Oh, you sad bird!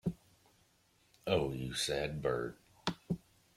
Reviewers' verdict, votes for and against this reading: accepted, 2, 0